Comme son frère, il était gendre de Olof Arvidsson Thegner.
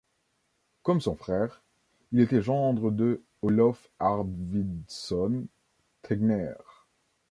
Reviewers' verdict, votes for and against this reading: rejected, 1, 2